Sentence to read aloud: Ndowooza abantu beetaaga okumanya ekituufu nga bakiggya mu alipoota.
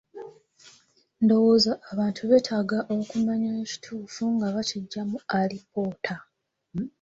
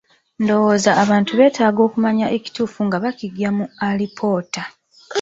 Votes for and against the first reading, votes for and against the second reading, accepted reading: 2, 0, 0, 2, first